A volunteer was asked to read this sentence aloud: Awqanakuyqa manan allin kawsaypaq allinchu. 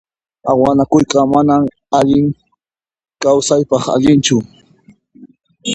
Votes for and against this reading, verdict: 1, 2, rejected